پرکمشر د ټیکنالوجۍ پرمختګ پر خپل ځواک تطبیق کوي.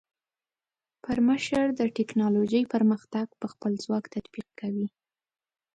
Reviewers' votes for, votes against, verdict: 2, 1, accepted